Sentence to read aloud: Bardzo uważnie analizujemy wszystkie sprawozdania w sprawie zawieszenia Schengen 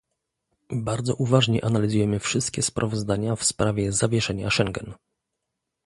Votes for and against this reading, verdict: 2, 0, accepted